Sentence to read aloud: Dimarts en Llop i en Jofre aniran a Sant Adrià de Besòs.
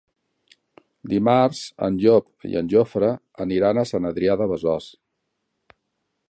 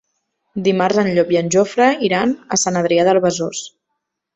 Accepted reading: first